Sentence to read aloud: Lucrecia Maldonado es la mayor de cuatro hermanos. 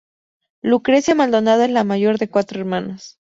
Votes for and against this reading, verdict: 4, 0, accepted